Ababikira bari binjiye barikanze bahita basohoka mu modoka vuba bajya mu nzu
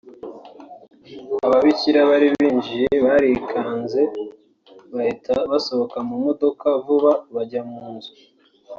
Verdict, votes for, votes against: rejected, 1, 2